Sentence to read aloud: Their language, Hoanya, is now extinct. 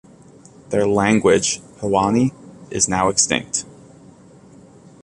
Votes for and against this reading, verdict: 2, 0, accepted